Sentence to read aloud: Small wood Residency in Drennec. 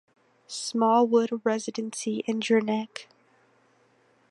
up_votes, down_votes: 2, 0